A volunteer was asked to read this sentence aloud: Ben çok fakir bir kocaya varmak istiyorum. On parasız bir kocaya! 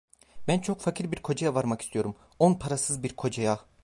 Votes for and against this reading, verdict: 1, 2, rejected